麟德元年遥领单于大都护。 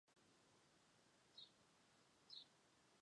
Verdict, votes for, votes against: accepted, 3, 2